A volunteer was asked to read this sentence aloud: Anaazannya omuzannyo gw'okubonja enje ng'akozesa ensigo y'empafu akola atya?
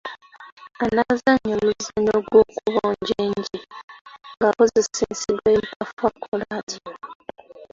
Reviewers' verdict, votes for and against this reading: rejected, 1, 2